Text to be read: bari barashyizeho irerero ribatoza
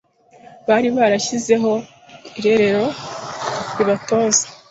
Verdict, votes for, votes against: accepted, 2, 0